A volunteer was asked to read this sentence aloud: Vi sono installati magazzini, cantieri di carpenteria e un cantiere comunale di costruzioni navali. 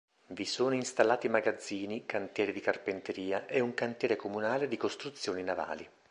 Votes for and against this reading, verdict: 2, 0, accepted